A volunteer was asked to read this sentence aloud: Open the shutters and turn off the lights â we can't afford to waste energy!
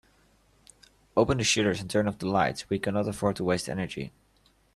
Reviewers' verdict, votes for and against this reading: rejected, 0, 2